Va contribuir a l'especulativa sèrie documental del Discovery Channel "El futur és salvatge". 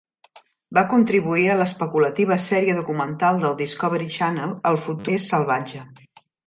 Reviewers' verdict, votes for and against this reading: rejected, 1, 2